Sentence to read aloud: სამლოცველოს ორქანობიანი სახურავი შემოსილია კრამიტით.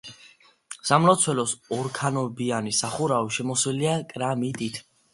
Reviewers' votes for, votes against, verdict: 2, 0, accepted